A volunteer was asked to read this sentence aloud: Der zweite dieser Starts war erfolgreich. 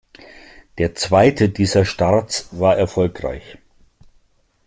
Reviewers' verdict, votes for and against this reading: accepted, 2, 0